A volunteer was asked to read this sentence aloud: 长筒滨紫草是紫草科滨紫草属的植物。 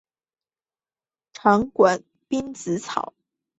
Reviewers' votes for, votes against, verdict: 2, 3, rejected